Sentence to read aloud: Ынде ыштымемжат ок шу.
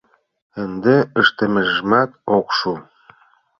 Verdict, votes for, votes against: rejected, 0, 2